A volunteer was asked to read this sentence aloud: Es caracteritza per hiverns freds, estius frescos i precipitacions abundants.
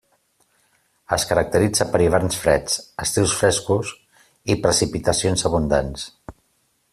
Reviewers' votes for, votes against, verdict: 2, 0, accepted